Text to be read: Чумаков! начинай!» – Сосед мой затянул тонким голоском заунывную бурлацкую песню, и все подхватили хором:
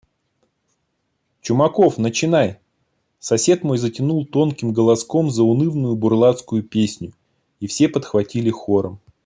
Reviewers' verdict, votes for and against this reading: accepted, 2, 0